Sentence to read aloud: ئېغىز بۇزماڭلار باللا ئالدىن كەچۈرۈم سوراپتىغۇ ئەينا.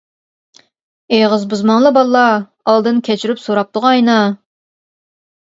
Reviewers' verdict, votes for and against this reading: rejected, 0, 2